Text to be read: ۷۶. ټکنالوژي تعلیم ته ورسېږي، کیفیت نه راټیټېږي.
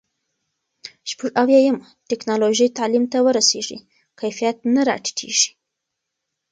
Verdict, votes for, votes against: rejected, 0, 2